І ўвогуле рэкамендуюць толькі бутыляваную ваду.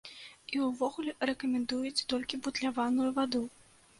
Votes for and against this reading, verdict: 0, 2, rejected